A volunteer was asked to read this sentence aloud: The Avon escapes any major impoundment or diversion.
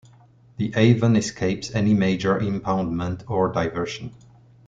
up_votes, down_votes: 2, 0